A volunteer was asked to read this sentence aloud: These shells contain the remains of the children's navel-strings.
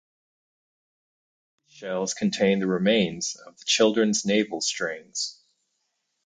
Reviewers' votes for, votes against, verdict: 2, 2, rejected